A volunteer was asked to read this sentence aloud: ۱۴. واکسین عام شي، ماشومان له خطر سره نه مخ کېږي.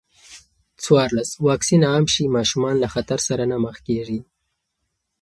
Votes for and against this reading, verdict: 0, 2, rejected